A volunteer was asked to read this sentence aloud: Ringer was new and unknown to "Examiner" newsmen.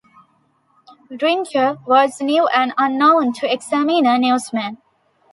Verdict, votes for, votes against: accepted, 2, 1